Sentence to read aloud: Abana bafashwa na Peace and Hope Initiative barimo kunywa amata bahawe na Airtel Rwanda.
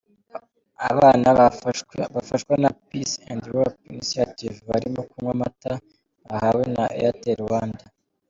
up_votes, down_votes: 0, 2